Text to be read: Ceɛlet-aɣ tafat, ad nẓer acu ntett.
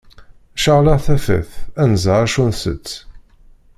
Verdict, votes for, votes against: rejected, 0, 2